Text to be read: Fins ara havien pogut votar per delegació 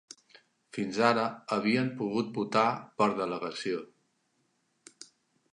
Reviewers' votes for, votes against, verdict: 4, 0, accepted